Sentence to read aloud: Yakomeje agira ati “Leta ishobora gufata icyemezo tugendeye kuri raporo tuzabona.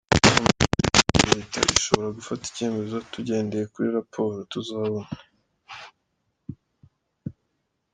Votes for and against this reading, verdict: 1, 2, rejected